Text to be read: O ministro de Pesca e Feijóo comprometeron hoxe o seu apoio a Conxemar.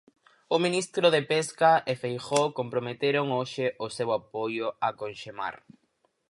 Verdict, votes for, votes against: accepted, 4, 0